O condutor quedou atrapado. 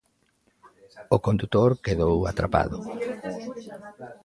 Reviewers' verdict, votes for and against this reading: accepted, 2, 0